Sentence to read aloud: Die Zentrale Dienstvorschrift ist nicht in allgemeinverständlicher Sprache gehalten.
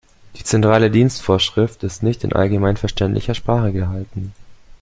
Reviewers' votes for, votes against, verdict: 1, 2, rejected